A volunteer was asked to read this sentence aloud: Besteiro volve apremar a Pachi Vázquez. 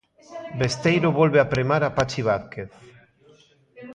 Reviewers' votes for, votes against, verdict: 1, 2, rejected